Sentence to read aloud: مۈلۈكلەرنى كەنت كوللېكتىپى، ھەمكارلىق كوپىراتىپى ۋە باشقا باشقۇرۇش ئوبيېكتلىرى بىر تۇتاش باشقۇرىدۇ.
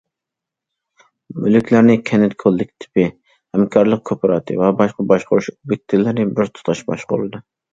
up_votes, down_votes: 2, 1